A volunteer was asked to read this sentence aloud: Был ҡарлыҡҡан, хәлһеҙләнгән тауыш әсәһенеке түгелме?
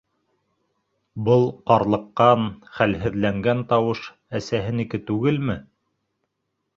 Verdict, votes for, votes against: accepted, 2, 0